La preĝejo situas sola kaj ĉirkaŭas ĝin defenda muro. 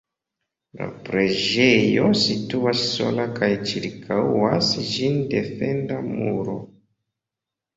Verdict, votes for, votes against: accepted, 2, 0